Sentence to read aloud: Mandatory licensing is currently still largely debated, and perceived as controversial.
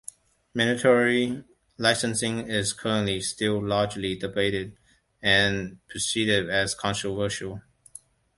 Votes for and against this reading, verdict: 1, 2, rejected